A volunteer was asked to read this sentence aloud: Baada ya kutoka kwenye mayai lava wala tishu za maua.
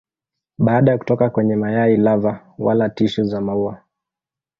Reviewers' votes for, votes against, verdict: 0, 2, rejected